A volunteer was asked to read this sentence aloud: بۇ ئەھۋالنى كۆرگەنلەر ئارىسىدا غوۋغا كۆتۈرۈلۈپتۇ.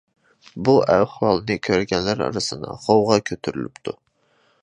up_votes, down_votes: 1, 2